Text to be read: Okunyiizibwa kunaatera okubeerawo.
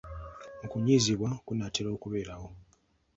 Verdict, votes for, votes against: accepted, 2, 0